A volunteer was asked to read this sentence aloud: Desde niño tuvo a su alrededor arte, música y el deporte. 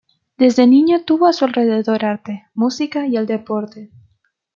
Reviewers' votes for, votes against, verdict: 0, 2, rejected